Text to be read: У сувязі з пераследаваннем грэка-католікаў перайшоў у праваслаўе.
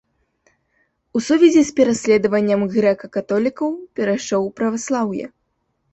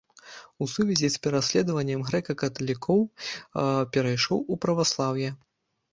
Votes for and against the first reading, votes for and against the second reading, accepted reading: 2, 1, 0, 2, first